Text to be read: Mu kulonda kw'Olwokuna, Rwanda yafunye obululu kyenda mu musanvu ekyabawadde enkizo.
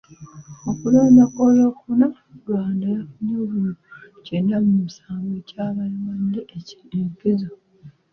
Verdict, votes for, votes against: accepted, 2, 0